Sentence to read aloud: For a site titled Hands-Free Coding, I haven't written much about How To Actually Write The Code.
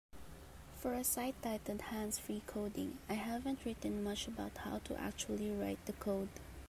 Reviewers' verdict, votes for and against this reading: accepted, 3, 1